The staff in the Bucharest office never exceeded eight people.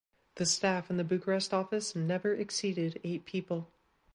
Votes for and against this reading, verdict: 2, 0, accepted